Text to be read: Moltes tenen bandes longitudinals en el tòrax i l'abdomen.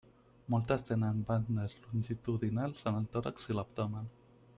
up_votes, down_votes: 0, 2